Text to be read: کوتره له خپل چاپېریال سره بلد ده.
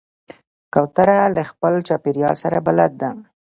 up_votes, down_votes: 1, 2